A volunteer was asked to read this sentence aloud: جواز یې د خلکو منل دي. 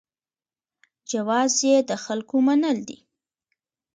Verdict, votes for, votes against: rejected, 0, 2